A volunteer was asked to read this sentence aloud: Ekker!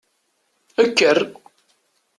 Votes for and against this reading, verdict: 2, 0, accepted